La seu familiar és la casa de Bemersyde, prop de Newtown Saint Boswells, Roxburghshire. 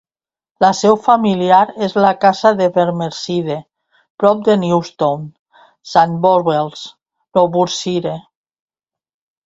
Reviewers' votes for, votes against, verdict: 0, 2, rejected